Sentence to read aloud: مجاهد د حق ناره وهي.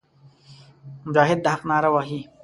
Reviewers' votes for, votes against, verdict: 2, 0, accepted